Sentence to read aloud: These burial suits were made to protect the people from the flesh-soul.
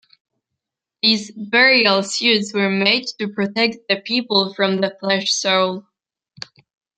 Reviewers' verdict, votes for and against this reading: accepted, 2, 0